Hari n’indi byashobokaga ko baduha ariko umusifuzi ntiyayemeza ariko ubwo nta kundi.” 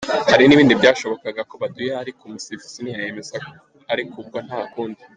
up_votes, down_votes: 1, 2